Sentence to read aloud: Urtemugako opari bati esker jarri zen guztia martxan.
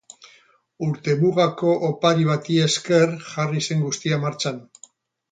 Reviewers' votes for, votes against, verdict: 0, 2, rejected